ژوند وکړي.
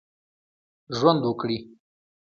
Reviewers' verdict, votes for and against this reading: accepted, 2, 0